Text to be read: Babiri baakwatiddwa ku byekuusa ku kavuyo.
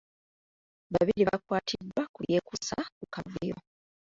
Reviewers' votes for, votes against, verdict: 1, 2, rejected